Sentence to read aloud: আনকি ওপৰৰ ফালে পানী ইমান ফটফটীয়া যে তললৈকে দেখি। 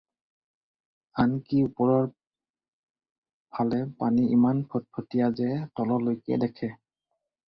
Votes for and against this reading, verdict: 0, 4, rejected